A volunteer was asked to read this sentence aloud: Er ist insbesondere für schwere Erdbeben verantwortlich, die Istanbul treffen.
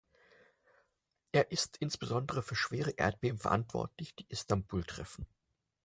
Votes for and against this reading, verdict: 4, 0, accepted